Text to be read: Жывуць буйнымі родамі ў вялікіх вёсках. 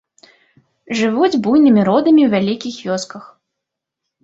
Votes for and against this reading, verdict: 1, 2, rejected